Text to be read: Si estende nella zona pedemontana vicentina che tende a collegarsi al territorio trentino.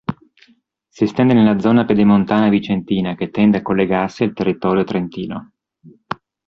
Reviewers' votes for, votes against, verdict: 2, 0, accepted